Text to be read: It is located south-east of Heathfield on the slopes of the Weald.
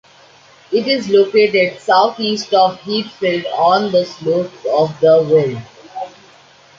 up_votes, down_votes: 1, 2